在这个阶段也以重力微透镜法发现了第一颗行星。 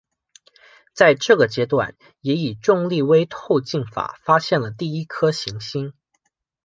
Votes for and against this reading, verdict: 2, 0, accepted